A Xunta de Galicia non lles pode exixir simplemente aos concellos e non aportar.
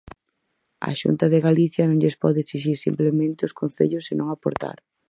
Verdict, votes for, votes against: accepted, 4, 2